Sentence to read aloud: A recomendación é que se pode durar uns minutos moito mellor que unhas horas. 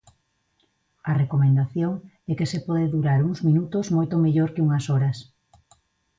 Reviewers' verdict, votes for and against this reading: accepted, 2, 0